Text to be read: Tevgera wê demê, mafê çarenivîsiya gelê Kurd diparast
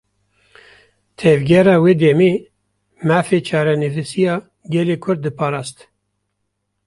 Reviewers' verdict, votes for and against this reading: accepted, 2, 0